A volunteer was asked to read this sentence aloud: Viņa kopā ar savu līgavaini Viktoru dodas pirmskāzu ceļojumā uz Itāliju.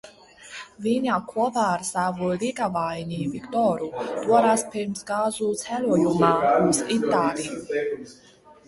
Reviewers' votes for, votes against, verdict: 0, 2, rejected